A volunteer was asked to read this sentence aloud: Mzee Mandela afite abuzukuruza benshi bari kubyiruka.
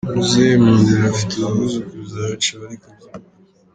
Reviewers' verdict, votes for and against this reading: rejected, 1, 2